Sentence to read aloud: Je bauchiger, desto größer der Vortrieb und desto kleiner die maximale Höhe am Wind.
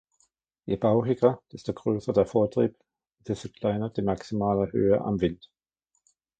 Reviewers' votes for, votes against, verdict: 1, 2, rejected